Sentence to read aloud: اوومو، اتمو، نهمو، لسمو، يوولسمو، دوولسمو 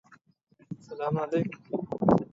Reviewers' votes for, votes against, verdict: 0, 2, rejected